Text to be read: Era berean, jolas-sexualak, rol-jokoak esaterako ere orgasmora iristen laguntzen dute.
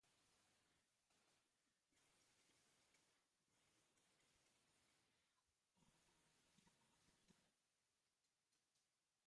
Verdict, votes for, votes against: rejected, 0, 2